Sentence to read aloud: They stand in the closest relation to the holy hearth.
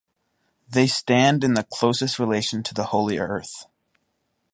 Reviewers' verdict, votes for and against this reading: rejected, 2, 4